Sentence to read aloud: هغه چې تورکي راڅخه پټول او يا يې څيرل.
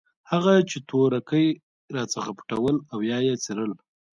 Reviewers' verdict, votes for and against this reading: accepted, 3, 1